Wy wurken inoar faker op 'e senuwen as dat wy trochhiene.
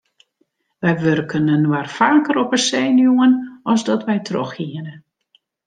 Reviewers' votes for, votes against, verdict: 2, 0, accepted